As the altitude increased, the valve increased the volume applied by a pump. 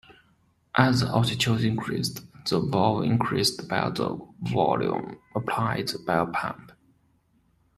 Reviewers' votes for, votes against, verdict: 0, 2, rejected